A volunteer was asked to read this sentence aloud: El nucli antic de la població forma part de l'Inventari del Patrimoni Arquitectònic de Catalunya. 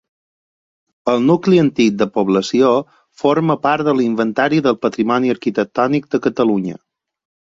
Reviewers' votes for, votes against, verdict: 2, 4, rejected